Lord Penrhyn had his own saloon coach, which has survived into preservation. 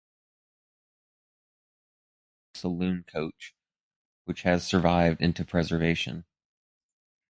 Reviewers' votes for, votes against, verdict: 0, 2, rejected